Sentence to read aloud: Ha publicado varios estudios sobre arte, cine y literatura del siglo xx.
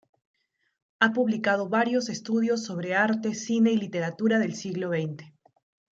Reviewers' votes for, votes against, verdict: 2, 0, accepted